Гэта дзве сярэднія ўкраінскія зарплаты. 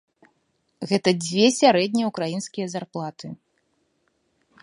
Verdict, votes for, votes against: accepted, 2, 0